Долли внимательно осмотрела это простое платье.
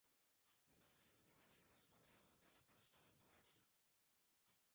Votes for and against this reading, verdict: 0, 2, rejected